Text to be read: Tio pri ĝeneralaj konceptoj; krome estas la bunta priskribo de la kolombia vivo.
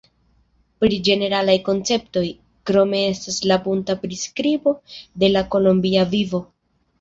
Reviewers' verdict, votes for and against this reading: rejected, 0, 2